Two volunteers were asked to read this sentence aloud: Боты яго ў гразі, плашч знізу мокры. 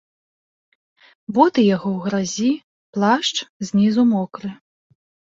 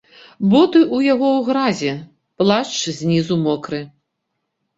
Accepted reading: first